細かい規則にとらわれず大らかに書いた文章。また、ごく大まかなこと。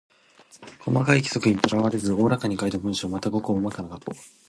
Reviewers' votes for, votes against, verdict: 2, 0, accepted